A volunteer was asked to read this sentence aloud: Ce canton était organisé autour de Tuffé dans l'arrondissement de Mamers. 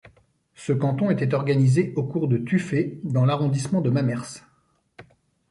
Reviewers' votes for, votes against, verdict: 0, 2, rejected